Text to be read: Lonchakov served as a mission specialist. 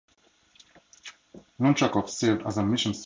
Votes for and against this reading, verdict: 2, 0, accepted